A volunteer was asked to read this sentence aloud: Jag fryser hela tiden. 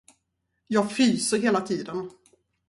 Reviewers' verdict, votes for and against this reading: rejected, 2, 2